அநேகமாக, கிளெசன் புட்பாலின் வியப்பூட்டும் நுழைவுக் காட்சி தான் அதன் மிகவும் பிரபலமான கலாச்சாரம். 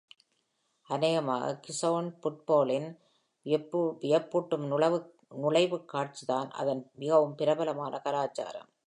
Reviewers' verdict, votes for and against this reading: rejected, 0, 2